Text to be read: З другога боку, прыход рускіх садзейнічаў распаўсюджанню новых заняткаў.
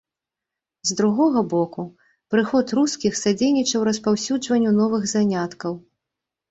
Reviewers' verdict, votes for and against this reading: rejected, 1, 2